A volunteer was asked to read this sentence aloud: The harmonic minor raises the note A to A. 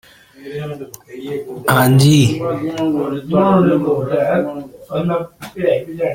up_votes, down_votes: 0, 2